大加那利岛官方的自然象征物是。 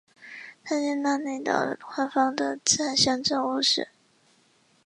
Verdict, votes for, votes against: accepted, 4, 0